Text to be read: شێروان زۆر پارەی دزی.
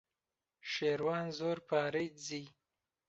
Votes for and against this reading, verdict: 2, 0, accepted